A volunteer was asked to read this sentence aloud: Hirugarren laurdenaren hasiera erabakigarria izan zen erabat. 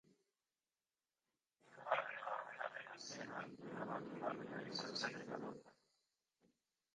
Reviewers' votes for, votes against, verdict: 0, 2, rejected